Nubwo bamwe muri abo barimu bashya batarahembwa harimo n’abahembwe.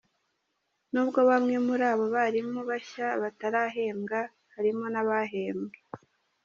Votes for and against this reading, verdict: 2, 0, accepted